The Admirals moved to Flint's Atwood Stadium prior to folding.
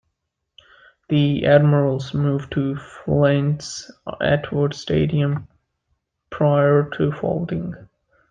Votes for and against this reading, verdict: 2, 0, accepted